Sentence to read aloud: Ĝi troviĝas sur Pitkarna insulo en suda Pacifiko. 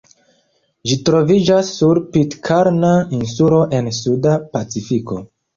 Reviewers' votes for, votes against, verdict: 2, 0, accepted